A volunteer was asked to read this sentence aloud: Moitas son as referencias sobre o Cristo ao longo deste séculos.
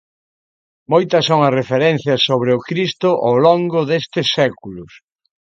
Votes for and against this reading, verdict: 2, 0, accepted